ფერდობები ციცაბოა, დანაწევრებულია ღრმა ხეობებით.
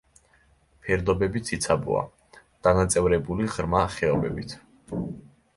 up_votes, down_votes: 1, 2